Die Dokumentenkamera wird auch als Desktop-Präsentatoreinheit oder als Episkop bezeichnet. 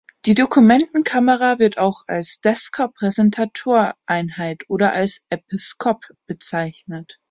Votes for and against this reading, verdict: 0, 3, rejected